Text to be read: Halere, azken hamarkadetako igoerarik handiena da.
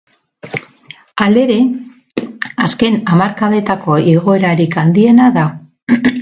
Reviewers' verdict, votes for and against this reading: rejected, 0, 2